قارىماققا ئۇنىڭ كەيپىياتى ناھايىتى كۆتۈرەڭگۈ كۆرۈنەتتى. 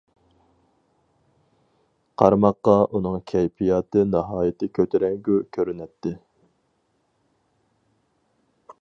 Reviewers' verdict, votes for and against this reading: accepted, 4, 0